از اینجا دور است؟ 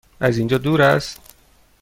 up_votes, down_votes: 2, 0